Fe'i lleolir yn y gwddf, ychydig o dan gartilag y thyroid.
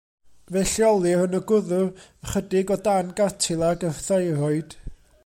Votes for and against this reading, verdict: 2, 0, accepted